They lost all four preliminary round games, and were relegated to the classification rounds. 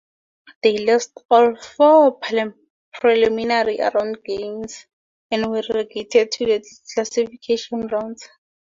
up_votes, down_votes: 0, 2